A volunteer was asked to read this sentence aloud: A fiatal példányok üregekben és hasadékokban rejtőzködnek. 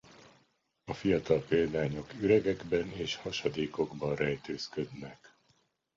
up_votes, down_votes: 2, 0